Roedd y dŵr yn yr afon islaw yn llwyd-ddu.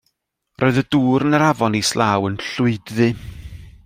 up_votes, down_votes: 2, 0